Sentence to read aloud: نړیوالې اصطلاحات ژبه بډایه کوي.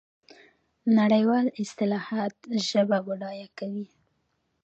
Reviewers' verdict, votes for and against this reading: accepted, 2, 0